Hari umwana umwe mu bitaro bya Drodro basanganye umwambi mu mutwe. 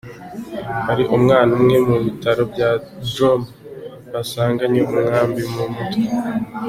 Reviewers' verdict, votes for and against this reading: accepted, 2, 1